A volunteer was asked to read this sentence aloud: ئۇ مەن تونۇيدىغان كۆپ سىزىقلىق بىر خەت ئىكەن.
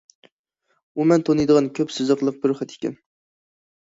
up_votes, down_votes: 2, 0